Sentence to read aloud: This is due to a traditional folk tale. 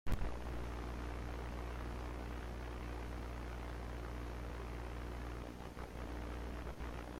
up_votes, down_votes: 0, 2